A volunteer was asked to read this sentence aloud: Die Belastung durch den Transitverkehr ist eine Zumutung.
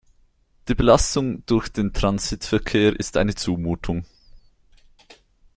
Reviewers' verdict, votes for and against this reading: accepted, 2, 0